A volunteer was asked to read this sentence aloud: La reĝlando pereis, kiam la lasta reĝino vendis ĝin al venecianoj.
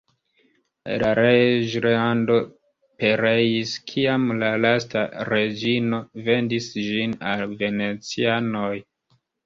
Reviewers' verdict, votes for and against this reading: accepted, 2, 0